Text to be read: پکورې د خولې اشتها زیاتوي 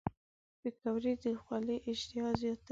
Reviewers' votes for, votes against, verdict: 1, 2, rejected